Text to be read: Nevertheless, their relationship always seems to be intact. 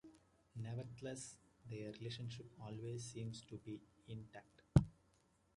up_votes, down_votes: 1, 2